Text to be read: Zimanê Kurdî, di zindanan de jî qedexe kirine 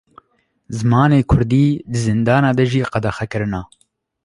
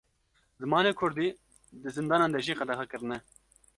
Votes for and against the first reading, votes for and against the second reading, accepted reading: 1, 2, 2, 0, second